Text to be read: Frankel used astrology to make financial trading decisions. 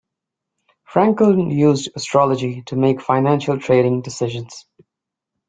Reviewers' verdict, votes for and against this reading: accepted, 2, 0